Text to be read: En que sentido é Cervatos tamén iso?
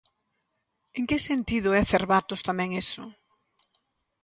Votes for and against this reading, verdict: 2, 1, accepted